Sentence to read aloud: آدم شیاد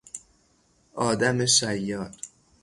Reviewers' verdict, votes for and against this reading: rejected, 3, 3